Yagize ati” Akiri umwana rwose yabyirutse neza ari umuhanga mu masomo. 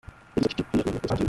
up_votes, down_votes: 0, 2